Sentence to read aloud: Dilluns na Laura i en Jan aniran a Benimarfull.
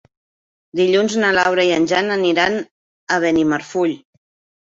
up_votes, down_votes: 2, 0